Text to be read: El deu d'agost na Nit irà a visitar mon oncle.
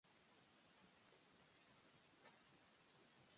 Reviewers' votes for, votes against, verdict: 1, 2, rejected